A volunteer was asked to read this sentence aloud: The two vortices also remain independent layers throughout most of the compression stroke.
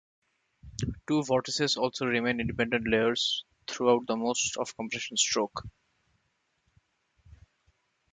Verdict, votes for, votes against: rejected, 0, 2